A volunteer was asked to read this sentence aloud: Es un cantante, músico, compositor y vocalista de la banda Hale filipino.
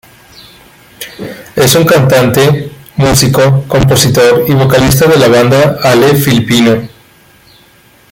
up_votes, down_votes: 2, 0